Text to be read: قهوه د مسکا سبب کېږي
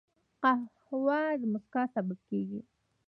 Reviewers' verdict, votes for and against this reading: rejected, 1, 2